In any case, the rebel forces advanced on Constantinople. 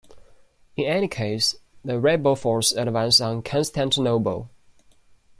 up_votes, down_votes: 1, 2